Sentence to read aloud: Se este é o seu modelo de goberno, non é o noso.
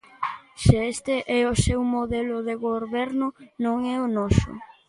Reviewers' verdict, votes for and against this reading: rejected, 0, 2